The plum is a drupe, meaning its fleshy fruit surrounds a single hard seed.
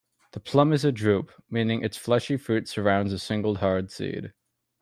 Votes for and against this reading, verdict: 3, 0, accepted